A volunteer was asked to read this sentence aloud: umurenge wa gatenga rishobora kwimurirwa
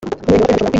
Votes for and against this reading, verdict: 0, 2, rejected